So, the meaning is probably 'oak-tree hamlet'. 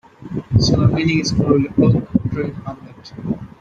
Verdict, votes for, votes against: accepted, 2, 1